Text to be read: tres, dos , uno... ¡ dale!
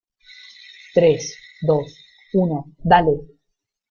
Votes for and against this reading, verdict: 1, 2, rejected